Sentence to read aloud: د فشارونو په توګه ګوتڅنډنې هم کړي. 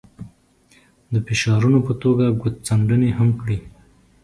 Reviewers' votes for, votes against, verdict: 2, 0, accepted